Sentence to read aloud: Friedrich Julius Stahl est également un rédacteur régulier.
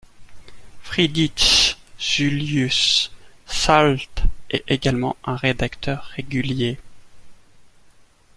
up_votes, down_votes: 2, 1